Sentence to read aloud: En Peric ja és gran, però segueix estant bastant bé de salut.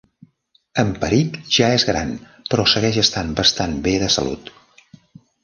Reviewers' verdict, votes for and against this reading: accepted, 3, 0